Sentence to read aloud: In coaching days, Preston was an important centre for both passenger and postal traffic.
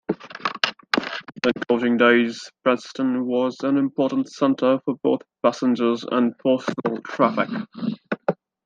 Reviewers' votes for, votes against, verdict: 2, 0, accepted